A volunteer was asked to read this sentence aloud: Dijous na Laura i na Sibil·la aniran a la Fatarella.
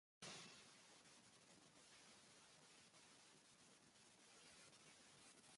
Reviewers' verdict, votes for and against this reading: rejected, 0, 2